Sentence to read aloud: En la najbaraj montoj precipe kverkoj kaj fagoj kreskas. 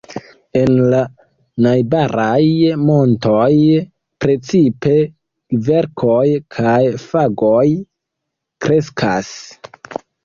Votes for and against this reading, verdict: 2, 0, accepted